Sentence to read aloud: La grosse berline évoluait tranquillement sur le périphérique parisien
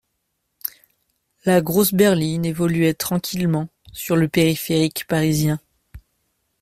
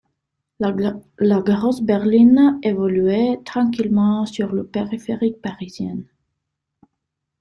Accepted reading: first